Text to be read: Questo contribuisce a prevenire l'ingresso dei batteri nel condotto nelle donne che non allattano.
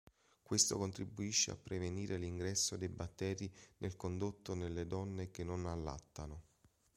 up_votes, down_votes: 2, 0